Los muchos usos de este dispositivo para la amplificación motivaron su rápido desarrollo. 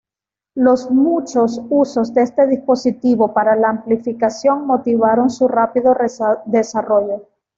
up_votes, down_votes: 1, 2